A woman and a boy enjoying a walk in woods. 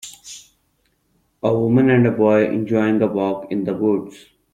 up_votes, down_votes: 1, 2